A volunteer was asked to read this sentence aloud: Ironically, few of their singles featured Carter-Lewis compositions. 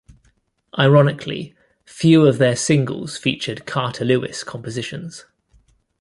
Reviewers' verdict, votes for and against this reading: rejected, 1, 2